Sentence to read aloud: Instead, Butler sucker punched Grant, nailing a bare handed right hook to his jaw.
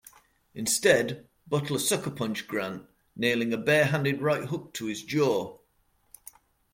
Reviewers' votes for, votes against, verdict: 2, 0, accepted